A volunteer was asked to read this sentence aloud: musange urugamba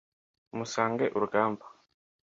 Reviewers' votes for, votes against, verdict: 2, 0, accepted